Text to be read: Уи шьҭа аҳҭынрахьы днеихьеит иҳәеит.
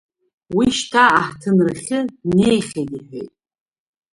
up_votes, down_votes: 0, 2